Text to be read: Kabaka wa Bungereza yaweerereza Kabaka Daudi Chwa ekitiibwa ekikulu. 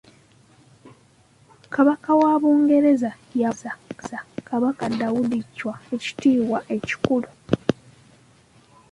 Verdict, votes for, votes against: accepted, 2, 0